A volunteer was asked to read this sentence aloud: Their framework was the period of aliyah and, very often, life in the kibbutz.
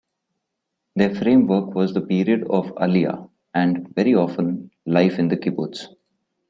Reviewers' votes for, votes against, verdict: 2, 0, accepted